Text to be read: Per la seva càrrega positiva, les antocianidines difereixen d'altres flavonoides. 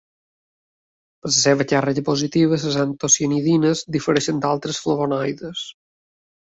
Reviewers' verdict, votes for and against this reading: rejected, 1, 2